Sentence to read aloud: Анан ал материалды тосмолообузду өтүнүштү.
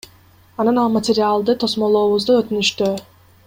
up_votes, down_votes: 1, 2